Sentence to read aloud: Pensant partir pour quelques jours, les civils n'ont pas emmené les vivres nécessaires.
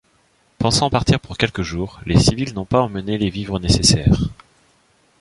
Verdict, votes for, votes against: accepted, 2, 0